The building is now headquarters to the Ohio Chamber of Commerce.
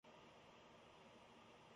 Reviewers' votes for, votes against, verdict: 0, 2, rejected